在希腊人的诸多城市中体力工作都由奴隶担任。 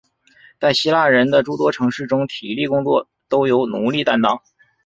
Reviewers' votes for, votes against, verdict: 2, 0, accepted